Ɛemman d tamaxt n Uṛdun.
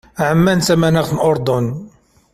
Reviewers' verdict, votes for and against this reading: accepted, 2, 1